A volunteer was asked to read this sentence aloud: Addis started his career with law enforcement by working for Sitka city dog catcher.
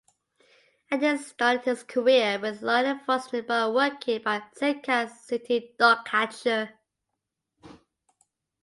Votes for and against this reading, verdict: 1, 2, rejected